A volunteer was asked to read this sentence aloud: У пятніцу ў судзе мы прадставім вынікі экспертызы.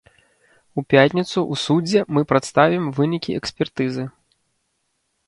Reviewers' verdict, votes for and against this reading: rejected, 1, 2